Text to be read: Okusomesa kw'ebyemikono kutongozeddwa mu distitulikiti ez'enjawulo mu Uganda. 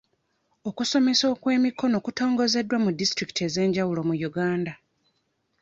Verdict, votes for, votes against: rejected, 0, 2